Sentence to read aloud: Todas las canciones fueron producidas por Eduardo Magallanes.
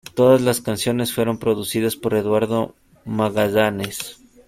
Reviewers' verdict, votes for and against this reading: rejected, 1, 2